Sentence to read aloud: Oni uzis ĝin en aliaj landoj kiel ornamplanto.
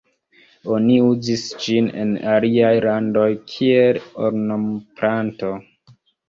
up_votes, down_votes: 0, 2